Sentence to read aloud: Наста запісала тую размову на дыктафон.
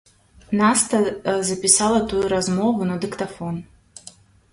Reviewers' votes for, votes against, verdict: 1, 2, rejected